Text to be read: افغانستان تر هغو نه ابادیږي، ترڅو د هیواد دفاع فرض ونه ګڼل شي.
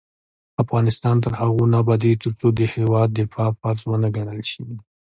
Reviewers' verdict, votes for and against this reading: accepted, 2, 0